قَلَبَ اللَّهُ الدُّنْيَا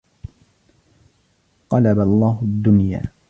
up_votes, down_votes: 2, 0